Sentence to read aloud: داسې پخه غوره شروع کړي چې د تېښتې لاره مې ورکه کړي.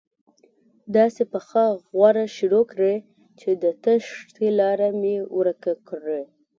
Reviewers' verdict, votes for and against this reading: rejected, 1, 2